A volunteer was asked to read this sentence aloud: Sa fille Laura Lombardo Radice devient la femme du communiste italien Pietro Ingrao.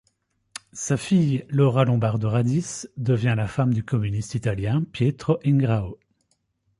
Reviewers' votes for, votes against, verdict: 2, 0, accepted